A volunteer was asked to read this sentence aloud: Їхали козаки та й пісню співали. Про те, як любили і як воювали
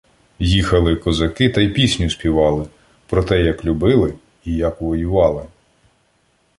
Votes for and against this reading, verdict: 2, 0, accepted